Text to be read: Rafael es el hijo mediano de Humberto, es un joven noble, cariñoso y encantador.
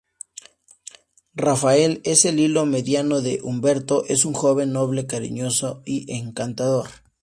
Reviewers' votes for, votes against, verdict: 2, 0, accepted